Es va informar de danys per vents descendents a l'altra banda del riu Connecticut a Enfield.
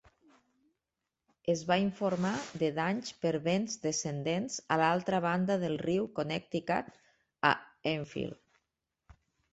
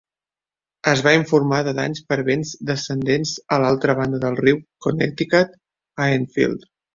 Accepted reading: first